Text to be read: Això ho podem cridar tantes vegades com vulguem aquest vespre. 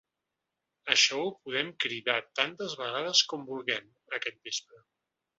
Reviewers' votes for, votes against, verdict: 3, 0, accepted